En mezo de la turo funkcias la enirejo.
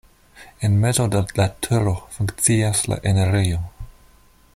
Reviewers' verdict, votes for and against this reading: rejected, 1, 2